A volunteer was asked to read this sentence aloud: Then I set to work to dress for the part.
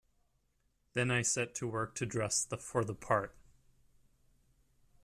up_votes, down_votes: 0, 2